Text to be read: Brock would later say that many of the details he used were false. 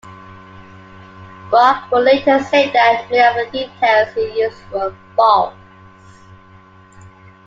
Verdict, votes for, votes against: rejected, 0, 2